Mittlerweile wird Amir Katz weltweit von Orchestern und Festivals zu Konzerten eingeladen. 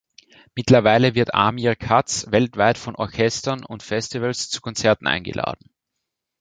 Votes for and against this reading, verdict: 2, 0, accepted